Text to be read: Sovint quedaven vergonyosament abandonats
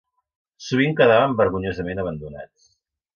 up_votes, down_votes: 2, 0